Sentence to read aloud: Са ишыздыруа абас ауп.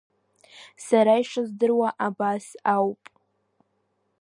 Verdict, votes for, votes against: accepted, 2, 0